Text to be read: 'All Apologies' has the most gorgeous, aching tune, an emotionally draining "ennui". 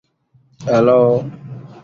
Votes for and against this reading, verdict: 1, 2, rejected